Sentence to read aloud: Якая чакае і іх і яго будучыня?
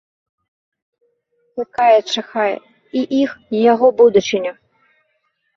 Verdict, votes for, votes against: rejected, 1, 2